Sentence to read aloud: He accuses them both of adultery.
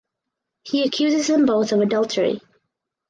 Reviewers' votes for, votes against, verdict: 4, 0, accepted